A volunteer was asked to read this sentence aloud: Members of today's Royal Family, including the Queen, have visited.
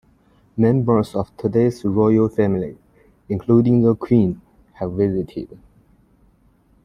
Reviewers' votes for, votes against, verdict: 2, 0, accepted